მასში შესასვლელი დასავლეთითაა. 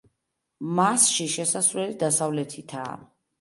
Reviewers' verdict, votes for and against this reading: accepted, 2, 0